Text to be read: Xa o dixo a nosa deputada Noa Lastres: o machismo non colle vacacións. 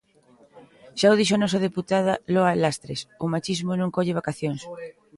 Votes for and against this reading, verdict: 0, 2, rejected